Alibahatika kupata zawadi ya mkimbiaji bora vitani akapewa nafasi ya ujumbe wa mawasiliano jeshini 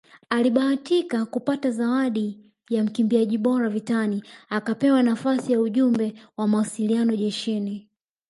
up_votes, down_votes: 3, 0